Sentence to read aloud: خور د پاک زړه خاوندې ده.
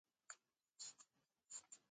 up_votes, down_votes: 0, 2